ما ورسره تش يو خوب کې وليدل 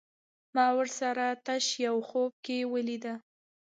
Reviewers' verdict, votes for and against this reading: rejected, 1, 2